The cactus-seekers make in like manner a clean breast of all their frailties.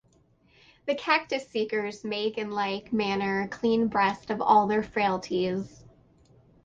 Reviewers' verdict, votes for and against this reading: rejected, 0, 4